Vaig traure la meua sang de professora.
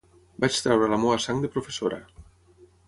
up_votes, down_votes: 6, 0